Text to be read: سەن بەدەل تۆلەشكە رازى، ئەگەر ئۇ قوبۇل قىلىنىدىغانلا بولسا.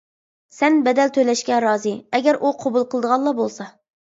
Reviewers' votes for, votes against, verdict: 1, 2, rejected